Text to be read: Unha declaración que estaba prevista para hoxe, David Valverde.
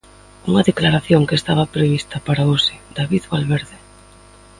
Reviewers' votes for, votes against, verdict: 2, 1, accepted